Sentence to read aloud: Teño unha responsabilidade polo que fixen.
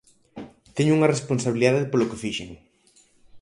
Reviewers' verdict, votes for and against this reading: accepted, 4, 0